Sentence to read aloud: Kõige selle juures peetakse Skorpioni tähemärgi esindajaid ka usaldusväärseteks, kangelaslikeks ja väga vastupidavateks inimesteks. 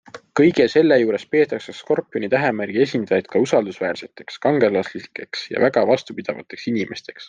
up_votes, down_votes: 2, 0